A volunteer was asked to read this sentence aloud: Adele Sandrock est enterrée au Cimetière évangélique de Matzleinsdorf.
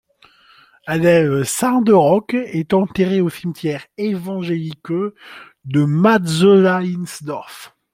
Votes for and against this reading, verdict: 2, 1, accepted